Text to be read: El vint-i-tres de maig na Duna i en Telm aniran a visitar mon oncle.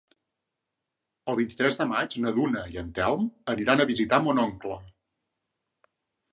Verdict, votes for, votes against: accepted, 4, 0